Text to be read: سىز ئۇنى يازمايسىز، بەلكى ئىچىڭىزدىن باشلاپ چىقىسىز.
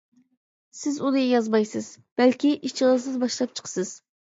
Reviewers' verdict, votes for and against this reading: rejected, 0, 2